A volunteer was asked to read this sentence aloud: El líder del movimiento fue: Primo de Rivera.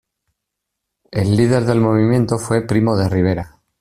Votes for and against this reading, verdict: 2, 0, accepted